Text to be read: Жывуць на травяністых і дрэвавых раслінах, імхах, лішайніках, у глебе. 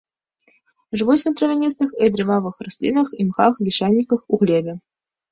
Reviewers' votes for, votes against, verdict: 0, 2, rejected